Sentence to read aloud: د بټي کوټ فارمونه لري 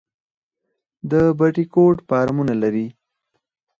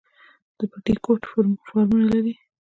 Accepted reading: second